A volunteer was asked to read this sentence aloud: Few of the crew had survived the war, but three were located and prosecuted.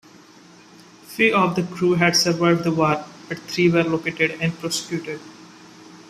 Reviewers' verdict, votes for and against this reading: accepted, 2, 1